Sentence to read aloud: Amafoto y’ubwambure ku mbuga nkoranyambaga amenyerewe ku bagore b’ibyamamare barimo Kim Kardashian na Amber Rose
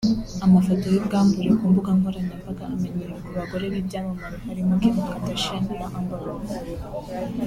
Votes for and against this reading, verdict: 3, 0, accepted